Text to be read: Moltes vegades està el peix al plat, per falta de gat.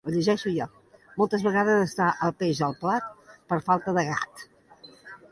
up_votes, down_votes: 0, 2